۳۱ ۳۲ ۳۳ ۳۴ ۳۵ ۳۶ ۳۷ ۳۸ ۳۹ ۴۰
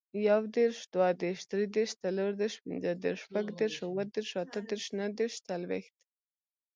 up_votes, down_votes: 0, 2